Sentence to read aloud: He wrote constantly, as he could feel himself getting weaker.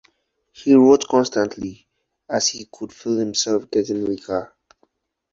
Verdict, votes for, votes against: accepted, 4, 0